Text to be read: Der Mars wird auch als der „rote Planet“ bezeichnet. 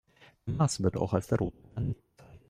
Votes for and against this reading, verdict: 0, 2, rejected